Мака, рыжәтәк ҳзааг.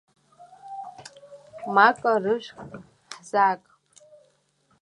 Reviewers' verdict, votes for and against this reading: accepted, 2, 1